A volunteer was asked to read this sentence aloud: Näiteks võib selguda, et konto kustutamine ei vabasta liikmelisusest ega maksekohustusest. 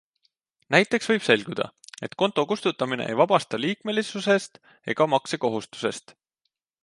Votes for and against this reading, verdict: 2, 0, accepted